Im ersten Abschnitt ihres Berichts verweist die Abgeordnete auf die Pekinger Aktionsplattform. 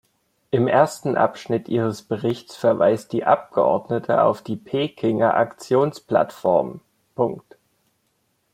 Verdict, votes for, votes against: accepted, 2, 1